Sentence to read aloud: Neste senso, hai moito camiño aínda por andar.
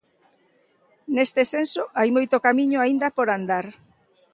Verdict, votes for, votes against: rejected, 1, 2